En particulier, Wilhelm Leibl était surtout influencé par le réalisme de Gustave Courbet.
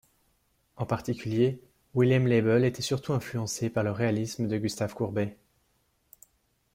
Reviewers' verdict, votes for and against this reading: accepted, 2, 0